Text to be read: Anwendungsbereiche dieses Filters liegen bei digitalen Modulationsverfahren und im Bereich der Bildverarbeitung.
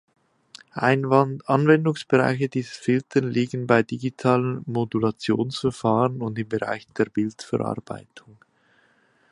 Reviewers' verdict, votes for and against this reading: rejected, 0, 2